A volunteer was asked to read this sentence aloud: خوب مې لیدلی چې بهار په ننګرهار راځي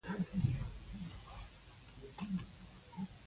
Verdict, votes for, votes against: rejected, 1, 2